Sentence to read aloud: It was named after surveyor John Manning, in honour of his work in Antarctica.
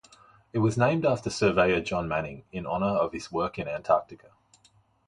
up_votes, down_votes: 2, 0